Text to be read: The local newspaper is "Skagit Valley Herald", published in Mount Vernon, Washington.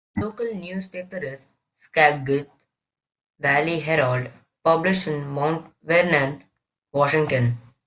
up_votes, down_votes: 1, 2